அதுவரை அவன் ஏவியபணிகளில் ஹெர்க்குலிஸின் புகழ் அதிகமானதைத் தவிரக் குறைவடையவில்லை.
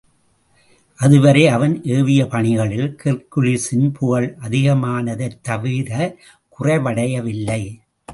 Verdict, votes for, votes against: accepted, 2, 0